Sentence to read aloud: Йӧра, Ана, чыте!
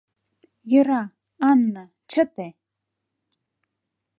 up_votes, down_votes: 0, 2